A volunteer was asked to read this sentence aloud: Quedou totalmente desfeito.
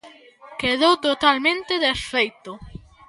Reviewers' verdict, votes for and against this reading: accepted, 2, 0